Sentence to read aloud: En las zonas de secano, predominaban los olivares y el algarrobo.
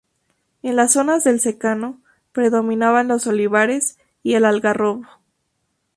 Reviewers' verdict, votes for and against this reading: rejected, 2, 2